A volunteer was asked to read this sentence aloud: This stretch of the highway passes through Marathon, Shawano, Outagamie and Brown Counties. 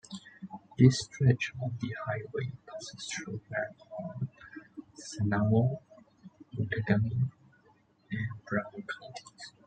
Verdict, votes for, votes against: rejected, 1, 2